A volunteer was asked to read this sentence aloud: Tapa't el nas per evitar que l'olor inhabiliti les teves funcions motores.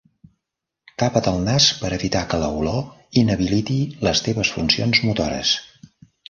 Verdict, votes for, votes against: rejected, 1, 2